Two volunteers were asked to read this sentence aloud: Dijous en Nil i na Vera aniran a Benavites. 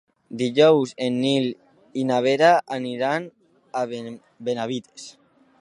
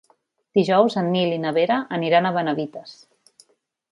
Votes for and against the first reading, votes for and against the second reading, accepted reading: 1, 2, 3, 0, second